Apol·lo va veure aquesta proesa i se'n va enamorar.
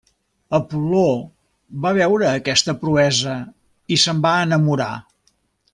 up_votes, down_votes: 0, 2